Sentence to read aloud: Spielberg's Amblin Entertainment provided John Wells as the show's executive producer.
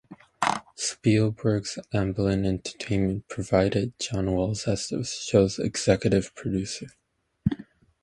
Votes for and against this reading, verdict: 0, 2, rejected